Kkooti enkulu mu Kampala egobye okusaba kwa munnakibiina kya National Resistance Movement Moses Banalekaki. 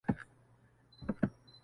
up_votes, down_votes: 0, 2